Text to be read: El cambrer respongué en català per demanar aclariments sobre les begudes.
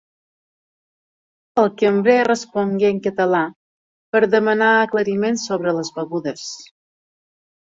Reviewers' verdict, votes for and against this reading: rejected, 0, 2